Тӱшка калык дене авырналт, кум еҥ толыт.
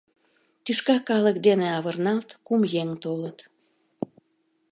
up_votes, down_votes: 2, 0